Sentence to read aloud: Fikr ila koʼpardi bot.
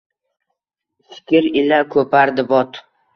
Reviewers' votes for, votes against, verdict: 1, 2, rejected